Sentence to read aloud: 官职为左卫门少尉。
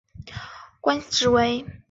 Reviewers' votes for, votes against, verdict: 0, 2, rejected